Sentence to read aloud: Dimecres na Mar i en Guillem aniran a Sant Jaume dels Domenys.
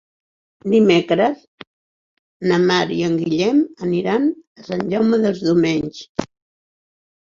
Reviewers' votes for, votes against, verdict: 6, 0, accepted